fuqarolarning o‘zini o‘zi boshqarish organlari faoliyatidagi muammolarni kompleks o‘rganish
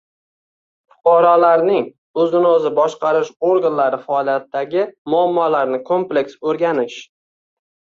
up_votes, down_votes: 1, 2